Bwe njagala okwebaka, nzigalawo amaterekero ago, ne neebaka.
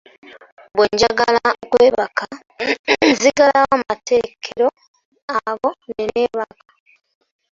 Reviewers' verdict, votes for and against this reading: rejected, 0, 2